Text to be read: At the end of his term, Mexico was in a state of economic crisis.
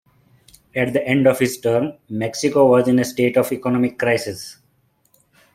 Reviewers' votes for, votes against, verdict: 2, 0, accepted